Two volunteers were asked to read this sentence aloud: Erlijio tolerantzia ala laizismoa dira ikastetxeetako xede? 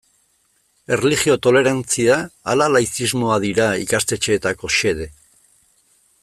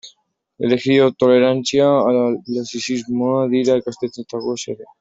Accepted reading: first